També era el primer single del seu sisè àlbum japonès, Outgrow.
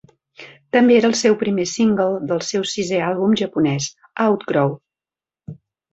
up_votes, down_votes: 0, 2